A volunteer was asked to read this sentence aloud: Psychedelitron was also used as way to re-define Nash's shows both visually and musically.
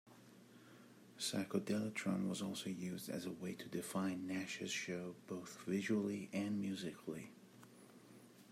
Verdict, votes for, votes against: rejected, 0, 2